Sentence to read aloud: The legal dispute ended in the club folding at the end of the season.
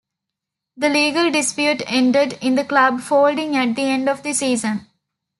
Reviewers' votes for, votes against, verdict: 3, 0, accepted